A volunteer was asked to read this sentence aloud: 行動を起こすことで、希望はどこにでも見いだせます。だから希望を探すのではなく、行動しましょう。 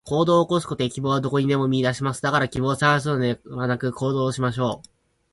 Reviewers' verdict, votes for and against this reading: rejected, 2, 4